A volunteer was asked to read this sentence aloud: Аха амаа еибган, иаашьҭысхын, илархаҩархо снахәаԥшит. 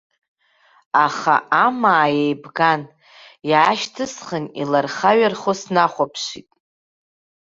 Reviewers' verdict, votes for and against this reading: accepted, 2, 0